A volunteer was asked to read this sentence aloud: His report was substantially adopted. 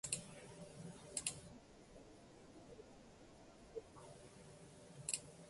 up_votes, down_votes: 0, 2